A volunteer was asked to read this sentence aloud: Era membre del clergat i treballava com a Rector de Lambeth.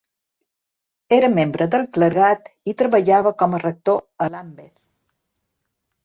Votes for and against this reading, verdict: 0, 2, rejected